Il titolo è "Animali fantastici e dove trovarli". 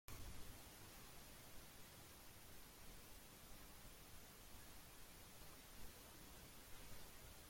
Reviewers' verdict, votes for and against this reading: rejected, 0, 2